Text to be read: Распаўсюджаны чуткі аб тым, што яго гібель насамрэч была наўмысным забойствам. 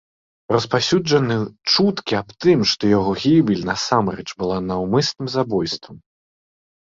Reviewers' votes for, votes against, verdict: 1, 2, rejected